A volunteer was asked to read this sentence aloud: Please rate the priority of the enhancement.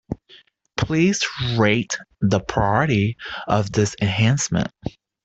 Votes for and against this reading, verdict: 0, 3, rejected